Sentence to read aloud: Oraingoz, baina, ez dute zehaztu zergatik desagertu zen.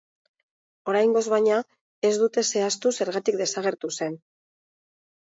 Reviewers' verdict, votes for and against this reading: accepted, 2, 0